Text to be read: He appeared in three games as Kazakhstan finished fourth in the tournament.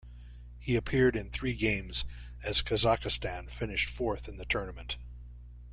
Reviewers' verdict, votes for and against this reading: rejected, 0, 2